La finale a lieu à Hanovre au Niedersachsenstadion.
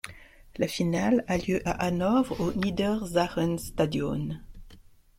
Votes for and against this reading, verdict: 2, 0, accepted